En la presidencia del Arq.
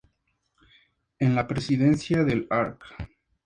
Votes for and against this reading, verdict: 2, 0, accepted